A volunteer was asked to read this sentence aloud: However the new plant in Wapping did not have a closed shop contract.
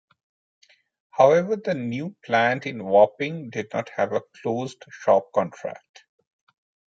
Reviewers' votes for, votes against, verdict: 2, 1, accepted